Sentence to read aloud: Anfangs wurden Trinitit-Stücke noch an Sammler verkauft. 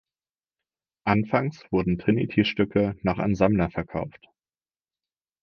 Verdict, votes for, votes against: accepted, 4, 0